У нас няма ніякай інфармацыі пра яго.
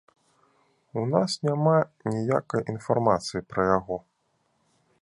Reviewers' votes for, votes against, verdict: 2, 0, accepted